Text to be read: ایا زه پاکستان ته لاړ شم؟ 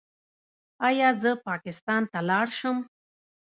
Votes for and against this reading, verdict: 1, 2, rejected